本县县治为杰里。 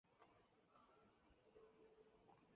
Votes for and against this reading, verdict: 0, 3, rejected